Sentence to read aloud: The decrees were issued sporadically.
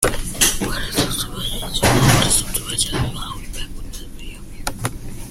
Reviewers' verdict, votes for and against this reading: rejected, 0, 2